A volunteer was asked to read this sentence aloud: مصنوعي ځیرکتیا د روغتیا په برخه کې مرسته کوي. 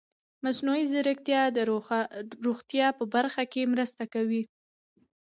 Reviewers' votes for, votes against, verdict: 1, 2, rejected